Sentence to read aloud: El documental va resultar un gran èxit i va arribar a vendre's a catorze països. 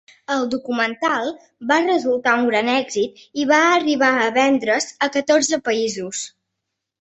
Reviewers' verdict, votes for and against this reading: accepted, 5, 0